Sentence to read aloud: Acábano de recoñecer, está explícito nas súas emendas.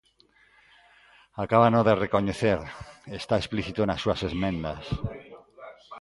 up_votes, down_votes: 1, 2